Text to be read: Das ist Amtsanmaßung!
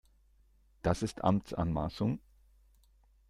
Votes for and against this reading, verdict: 2, 0, accepted